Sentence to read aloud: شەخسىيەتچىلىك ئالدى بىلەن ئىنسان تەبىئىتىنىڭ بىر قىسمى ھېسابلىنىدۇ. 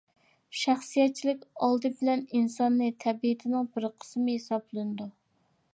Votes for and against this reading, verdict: 0, 2, rejected